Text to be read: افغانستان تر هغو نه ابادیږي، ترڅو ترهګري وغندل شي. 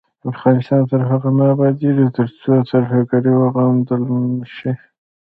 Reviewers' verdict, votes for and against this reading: rejected, 0, 2